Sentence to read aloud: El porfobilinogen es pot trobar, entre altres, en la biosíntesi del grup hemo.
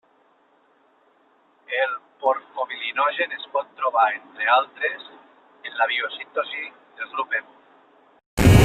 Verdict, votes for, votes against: accepted, 2, 0